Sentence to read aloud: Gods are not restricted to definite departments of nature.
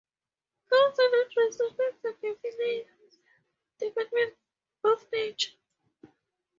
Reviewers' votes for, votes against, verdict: 4, 0, accepted